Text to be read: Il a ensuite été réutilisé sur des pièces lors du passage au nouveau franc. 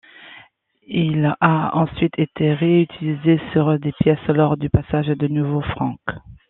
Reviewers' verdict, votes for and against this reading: rejected, 1, 2